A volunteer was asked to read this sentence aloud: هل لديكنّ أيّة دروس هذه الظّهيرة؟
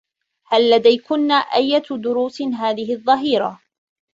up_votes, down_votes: 2, 0